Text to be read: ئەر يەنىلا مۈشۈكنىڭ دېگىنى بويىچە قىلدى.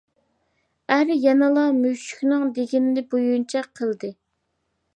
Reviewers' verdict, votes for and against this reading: rejected, 0, 2